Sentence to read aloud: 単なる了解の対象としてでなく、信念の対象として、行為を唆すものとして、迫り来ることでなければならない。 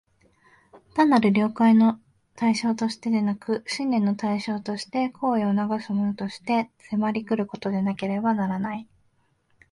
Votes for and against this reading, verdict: 2, 0, accepted